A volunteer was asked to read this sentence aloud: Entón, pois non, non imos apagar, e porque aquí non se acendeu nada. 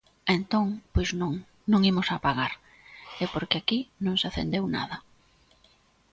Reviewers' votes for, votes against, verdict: 2, 0, accepted